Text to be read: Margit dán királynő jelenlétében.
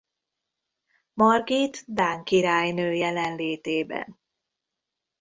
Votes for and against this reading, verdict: 2, 0, accepted